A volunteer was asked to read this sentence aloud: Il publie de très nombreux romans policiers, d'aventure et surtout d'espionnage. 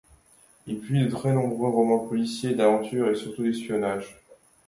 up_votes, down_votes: 0, 2